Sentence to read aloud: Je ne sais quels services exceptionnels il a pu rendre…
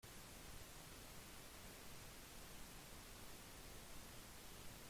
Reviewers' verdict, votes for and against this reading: rejected, 0, 2